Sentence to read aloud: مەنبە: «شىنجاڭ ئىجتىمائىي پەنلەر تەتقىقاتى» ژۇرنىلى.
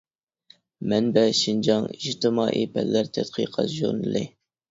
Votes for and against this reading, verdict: 2, 0, accepted